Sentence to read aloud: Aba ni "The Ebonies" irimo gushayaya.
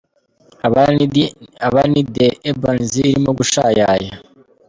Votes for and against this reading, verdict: 0, 2, rejected